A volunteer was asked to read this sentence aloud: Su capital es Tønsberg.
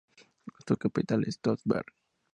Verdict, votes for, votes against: accepted, 2, 0